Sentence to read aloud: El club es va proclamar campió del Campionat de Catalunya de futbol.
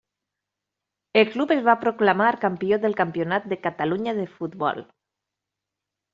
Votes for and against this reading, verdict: 3, 1, accepted